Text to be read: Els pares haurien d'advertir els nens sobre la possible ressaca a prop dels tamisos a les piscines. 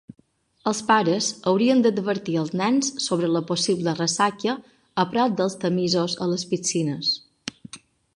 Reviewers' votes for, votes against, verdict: 0, 2, rejected